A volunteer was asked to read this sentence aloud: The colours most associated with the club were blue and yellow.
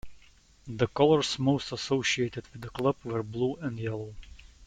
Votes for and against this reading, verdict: 2, 0, accepted